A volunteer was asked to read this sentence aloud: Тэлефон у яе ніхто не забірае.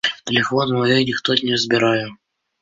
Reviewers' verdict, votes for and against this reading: accepted, 2, 1